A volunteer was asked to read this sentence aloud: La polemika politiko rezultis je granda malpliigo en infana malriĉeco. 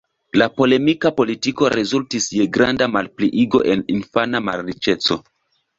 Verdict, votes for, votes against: accepted, 2, 0